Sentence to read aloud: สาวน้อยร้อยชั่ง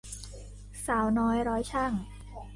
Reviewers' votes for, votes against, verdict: 3, 0, accepted